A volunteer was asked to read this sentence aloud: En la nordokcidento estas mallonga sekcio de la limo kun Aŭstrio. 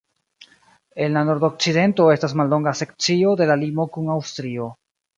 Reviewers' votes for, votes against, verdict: 0, 2, rejected